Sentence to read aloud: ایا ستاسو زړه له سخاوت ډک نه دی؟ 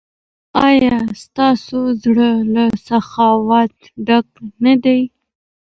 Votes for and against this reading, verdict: 2, 1, accepted